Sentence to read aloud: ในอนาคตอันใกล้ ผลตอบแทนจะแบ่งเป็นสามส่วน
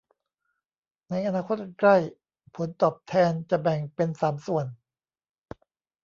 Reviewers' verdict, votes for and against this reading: accepted, 2, 0